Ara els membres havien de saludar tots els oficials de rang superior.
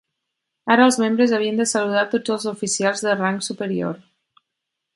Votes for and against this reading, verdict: 4, 0, accepted